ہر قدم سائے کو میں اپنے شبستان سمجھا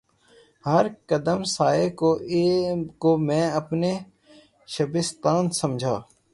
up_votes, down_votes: 0, 3